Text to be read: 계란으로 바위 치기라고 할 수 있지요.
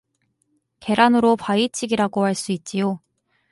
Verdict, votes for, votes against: rejected, 2, 2